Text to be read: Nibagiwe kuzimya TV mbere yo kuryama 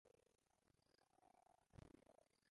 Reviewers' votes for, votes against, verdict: 0, 2, rejected